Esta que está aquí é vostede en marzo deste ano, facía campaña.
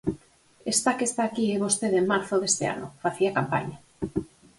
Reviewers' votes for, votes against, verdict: 4, 0, accepted